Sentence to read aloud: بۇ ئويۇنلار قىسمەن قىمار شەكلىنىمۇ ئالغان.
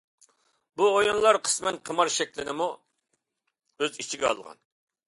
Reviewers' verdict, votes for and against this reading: rejected, 0, 2